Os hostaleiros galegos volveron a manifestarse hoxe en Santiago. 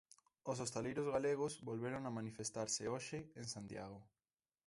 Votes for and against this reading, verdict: 2, 1, accepted